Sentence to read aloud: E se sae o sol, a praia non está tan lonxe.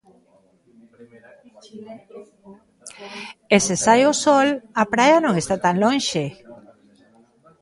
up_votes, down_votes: 2, 1